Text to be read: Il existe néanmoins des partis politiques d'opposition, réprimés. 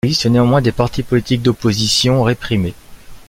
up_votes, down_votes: 0, 2